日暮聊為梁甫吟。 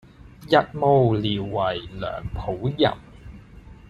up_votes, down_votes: 2, 0